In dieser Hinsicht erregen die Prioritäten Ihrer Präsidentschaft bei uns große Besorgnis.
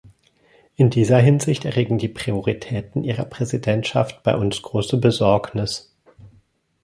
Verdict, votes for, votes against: accepted, 2, 0